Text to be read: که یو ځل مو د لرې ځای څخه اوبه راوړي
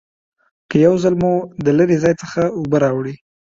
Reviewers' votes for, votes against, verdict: 2, 0, accepted